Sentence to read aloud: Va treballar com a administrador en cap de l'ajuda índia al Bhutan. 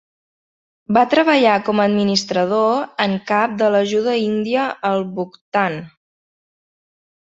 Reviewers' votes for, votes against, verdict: 1, 3, rejected